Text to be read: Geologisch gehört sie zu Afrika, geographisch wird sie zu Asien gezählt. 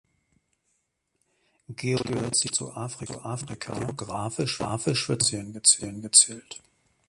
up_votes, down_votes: 0, 2